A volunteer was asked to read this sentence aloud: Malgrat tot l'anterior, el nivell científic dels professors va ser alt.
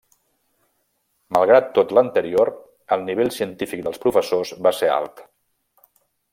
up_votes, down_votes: 3, 0